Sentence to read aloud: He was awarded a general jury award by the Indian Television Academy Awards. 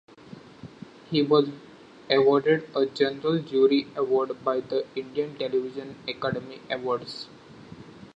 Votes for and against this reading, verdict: 2, 1, accepted